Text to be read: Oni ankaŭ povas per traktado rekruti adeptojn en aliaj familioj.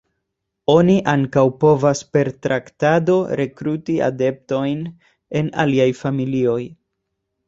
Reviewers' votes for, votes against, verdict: 2, 0, accepted